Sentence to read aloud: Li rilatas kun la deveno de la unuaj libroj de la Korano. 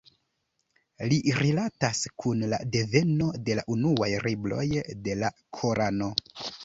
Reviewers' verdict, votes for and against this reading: rejected, 1, 2